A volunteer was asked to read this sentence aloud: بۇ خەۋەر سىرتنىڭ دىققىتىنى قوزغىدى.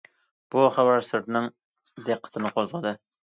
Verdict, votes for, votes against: accepted, 2, 0